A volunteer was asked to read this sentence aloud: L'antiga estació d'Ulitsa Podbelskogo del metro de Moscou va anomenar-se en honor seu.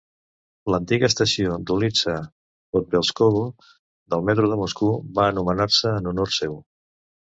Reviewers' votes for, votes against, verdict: 0, 2, rejected